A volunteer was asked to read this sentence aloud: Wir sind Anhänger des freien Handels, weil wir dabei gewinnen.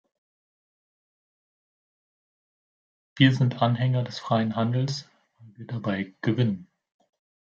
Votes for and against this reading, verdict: 2, 1, accepted